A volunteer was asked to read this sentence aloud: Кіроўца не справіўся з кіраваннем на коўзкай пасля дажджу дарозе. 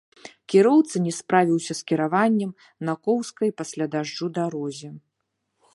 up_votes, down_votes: 0, 3